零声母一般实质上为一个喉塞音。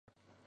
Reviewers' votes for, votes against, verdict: 0, 4, rejected